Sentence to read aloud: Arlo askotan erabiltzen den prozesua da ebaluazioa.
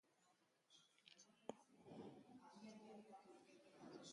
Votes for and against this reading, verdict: 0, 3, rejected